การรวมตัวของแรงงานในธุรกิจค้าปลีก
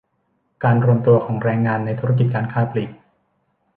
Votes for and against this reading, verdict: 1, 2, rejected